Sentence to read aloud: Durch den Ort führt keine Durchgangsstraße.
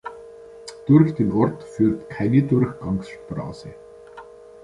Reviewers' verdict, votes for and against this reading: accepted, 2, 0